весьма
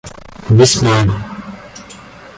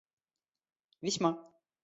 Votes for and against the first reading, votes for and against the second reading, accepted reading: 1, 2, 2, 1, second